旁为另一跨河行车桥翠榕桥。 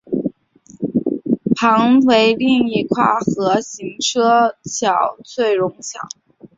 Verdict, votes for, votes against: rejected, 0, 3